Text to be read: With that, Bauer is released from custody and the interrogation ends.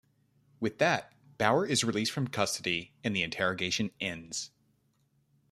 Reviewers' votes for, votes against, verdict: 2, 0, accepted